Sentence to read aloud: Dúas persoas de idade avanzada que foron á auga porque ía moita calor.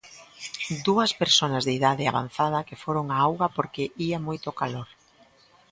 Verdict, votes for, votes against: rejected, 0, 2